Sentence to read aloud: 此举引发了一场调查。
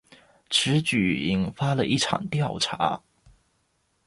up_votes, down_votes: 1, 2